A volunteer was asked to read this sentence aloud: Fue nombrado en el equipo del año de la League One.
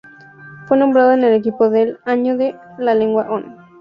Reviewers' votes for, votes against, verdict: 0, 2, rejected